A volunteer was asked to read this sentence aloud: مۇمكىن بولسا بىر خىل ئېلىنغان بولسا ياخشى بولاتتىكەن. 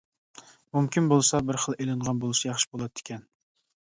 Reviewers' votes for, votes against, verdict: 2, 1, accepted